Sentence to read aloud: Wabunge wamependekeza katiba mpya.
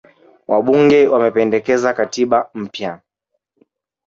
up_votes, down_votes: 1, 2